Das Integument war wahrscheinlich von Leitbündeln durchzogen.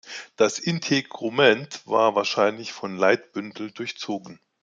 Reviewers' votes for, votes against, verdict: 2, 0, accepted